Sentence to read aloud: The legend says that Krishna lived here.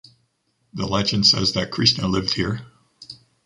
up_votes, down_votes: 2, 0